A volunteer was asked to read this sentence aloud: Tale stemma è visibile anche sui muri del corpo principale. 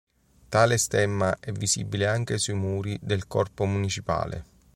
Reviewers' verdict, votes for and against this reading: rejected, 0, 2